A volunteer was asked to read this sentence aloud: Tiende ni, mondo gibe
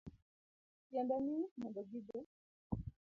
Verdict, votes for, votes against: rejected, 1, 3